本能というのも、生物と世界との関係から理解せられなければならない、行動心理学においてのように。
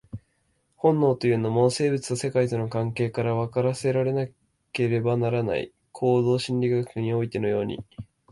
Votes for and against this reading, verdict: 2, 3, rejected